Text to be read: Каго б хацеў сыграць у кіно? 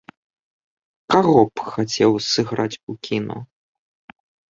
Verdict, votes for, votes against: rejected, 0, 2